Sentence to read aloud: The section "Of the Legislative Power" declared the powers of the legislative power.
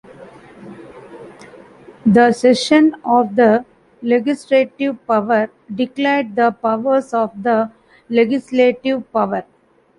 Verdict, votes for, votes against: rejected, 0, 2